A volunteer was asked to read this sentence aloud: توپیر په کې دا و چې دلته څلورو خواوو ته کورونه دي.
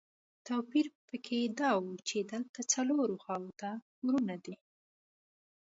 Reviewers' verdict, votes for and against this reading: accepted, 2, 0